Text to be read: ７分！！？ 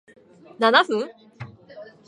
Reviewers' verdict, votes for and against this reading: rejected, 0, 2